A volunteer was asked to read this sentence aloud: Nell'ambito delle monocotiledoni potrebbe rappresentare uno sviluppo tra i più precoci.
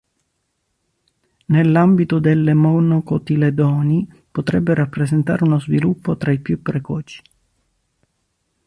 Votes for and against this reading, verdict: 2, 0, accepted